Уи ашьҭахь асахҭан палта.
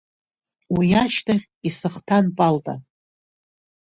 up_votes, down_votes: 0, 2